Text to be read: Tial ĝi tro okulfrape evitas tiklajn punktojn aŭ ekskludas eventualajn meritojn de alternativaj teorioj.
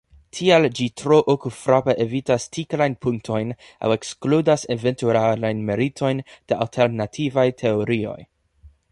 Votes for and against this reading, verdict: 2, 4, rejected